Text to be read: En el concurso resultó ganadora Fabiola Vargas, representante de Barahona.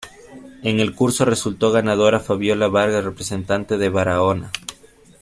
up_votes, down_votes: 1, 2